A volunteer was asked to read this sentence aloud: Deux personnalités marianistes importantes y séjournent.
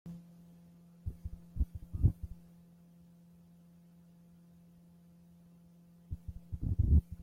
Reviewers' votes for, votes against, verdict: 1, 2, rejected